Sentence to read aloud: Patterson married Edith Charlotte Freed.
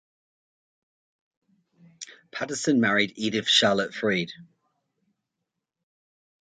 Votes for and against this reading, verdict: 2, 0, accepted